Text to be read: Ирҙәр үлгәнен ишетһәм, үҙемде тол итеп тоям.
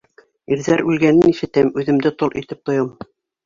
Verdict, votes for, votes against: accepted, 2, 1